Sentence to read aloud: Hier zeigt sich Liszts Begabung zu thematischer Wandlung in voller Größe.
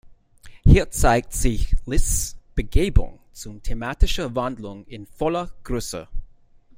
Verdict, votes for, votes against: rejected, 0, 2